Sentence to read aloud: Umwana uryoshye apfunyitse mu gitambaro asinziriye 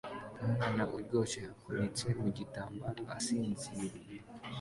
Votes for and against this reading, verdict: 2, 1, accepted